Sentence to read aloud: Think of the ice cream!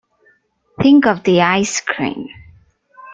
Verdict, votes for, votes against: accepted, 2, 0